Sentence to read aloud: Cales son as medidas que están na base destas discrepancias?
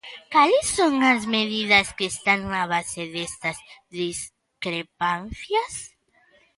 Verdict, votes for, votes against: accepted, 2, 0